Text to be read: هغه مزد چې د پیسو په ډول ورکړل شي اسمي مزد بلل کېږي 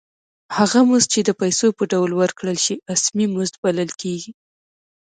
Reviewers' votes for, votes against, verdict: 2, 0, accepted